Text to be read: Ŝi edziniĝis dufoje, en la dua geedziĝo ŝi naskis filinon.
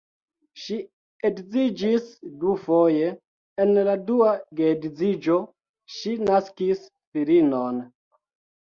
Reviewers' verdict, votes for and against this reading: rejected, 1, 2